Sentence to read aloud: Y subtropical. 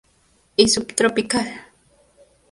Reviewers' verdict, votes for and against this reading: accepted, 2, 0